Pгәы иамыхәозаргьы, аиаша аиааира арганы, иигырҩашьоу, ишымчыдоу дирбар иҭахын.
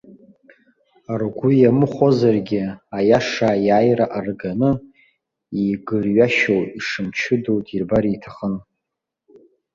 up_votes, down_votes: 1, 2